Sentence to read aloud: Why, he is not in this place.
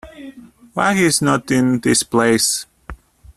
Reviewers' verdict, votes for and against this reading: accepted, 2, 0